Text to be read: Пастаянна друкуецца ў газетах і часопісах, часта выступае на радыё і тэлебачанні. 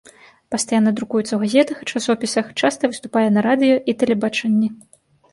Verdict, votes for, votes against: accepted, 2, 0